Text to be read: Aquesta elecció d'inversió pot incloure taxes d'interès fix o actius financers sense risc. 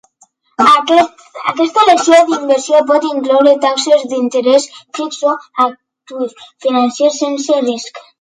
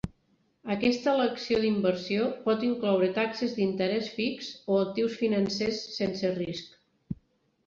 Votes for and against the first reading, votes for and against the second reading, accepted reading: 0, 2, 4, 0, second